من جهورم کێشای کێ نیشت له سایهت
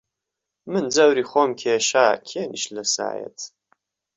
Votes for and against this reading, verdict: 0, 2, rejected